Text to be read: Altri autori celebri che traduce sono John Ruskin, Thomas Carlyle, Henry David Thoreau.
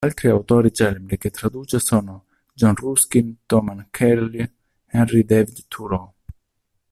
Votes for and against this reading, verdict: 1, 2, rejected